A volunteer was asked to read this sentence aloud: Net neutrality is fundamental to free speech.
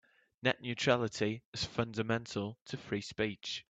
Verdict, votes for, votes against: accepted, 3, 0